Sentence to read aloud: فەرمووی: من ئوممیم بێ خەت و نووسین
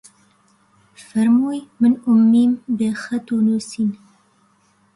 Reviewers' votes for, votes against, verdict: 2, 0, accepted